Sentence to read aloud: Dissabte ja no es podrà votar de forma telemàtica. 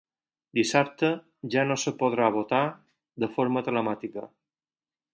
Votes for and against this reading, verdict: 2, 4, rejected